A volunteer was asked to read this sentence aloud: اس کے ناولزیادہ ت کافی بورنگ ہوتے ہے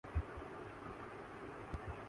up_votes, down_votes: 1, 2